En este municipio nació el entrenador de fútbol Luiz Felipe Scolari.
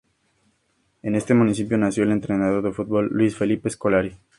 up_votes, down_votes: 2, 0